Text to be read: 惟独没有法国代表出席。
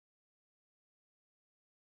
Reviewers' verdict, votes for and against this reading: rejected, 0, 5